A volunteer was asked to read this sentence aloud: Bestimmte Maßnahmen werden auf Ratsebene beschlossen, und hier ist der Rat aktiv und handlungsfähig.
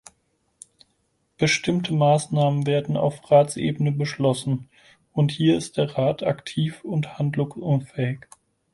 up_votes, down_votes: 2, 4